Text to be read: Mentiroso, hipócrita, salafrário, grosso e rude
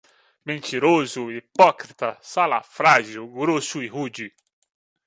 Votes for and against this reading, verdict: 2, 1, accepted